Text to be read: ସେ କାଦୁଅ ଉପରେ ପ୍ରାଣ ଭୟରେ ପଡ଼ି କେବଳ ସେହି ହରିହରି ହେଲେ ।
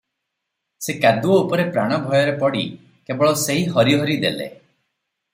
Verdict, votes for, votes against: rejected, 3, 3